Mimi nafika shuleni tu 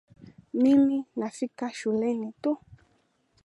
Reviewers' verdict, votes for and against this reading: rejected, 1, 2